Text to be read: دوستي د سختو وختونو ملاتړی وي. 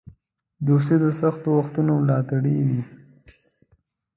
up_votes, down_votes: 2, 0